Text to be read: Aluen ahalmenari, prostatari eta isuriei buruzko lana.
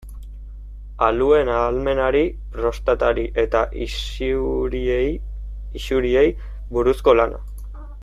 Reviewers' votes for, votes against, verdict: 0, 2, rejected